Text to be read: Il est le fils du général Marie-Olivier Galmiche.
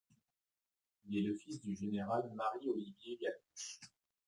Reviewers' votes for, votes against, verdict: 1, 2, rejected